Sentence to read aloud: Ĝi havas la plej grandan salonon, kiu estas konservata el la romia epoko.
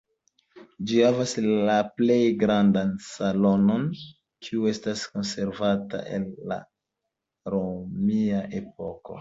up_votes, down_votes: 2, 0